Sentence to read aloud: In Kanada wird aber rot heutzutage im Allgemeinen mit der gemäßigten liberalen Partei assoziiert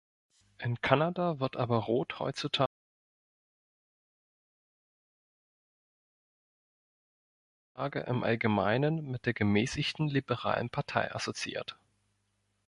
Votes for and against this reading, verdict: 1, 2, rejected